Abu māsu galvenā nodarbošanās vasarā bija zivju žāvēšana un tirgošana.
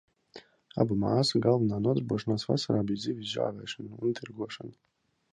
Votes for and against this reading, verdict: 1, 2, rejected